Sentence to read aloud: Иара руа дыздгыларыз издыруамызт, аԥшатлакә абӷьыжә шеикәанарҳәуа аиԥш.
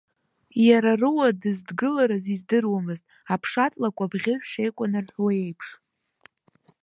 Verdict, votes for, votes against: rejected, 1, 2